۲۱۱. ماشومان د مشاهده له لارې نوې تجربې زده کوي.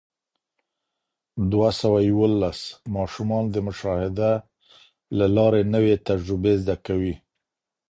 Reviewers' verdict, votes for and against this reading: rejected, 0, 2